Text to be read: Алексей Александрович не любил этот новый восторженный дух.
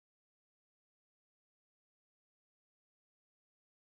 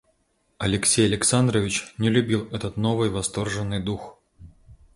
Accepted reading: second